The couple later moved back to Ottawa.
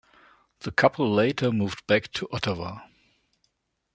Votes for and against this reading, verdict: 2, 0, accepted